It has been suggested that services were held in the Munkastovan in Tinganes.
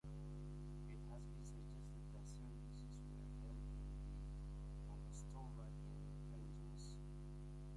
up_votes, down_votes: 0, 2